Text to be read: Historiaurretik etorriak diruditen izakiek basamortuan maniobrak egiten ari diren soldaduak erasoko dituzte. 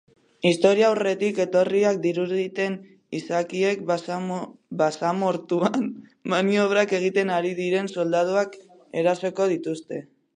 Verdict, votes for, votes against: rejected, 0, 2